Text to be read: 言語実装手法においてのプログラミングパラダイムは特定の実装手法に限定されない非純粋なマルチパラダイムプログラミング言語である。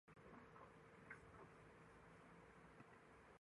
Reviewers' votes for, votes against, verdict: 0, 2, rejected